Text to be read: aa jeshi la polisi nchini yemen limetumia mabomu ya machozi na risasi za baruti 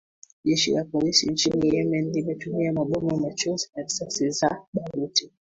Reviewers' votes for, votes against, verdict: 1, 2, rejected